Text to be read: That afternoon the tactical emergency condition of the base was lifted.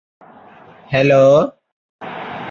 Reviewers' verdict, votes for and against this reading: rejected, 0, 2